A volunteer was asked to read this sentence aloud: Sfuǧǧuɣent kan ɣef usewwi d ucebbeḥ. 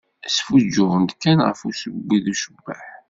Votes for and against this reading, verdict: 2, 0, accepted